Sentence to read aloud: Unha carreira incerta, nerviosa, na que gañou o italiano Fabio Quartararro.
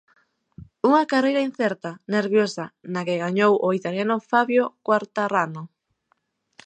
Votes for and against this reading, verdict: 1, 2, rejected